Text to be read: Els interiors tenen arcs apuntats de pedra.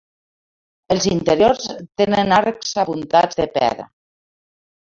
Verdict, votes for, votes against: rejected, 0, 2